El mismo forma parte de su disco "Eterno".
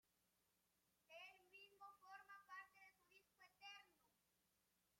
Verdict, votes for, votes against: rejected, 0, 2